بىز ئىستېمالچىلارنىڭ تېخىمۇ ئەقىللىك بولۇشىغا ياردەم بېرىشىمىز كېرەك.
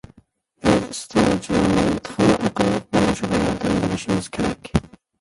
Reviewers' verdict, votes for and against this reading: rejected, 0, 2